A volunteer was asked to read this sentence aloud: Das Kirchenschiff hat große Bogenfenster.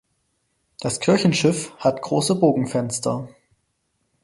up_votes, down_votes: 4, 0